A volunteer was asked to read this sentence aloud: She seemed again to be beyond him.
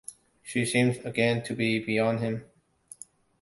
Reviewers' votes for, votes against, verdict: 2, 0, accepted